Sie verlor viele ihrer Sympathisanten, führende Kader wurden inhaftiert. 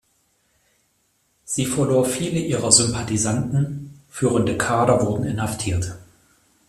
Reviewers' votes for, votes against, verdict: 2, 0, accepted